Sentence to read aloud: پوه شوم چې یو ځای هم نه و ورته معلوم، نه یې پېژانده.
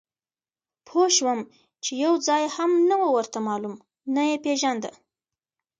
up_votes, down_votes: 2, 0